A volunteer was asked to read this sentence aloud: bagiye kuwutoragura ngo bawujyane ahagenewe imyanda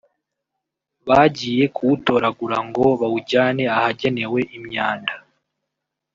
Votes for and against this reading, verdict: 1, 2, rejected